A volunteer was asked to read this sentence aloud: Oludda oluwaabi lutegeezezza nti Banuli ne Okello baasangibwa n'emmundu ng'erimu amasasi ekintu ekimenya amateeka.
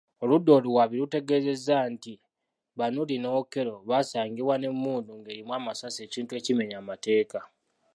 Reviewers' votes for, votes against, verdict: 1, 2, rejected